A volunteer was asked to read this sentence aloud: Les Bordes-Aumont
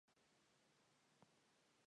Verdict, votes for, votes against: rejected, 0, 2